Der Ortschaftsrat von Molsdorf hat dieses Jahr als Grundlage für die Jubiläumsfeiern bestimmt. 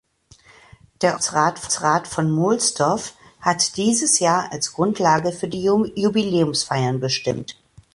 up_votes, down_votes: 0, 2